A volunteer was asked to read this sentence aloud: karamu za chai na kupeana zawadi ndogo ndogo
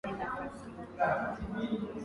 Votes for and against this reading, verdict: 0, 2, rejected